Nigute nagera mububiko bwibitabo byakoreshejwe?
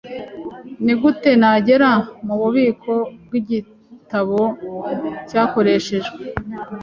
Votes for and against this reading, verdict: 1, 2, rejected